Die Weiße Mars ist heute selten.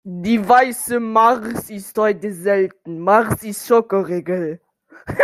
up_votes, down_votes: 0, 2